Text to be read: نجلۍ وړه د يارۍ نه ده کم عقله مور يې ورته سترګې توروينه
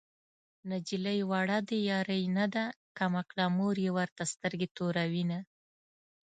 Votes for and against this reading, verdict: 2, 0, accepted